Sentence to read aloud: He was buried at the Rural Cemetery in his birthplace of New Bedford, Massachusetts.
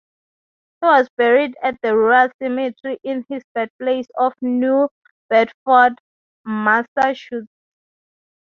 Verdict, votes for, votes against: rejected, 0, 6